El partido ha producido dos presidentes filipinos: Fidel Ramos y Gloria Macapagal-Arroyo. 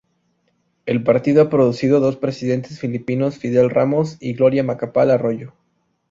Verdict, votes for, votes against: rejected, 0, 2